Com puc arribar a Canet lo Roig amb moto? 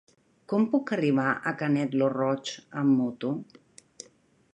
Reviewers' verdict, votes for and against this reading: rejected, 1, 2